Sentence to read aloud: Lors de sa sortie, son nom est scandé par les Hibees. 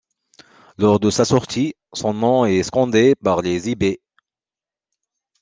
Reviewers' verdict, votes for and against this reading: accepted, 2, 0